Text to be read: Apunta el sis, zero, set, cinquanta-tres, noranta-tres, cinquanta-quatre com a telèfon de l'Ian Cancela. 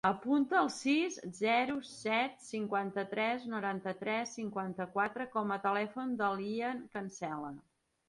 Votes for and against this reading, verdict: 2, 0, accepted